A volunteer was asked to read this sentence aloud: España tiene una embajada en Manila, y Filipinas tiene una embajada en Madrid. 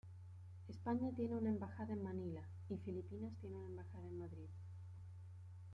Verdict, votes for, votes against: rejected, 1, 2